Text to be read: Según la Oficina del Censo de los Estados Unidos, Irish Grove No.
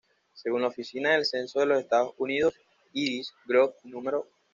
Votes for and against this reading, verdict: 2, 0, accepted